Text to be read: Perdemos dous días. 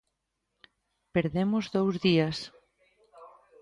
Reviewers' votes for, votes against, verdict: 0, 2, rejected